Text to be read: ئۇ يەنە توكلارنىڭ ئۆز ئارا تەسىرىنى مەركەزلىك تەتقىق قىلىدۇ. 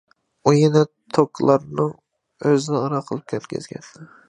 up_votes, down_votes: 0, 2